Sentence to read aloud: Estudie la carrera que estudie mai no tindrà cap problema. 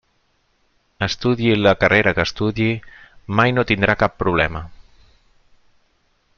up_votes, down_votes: 0, 2